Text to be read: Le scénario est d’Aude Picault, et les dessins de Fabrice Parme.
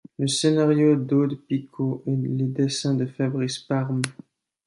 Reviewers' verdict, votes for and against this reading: rejected, 1, 2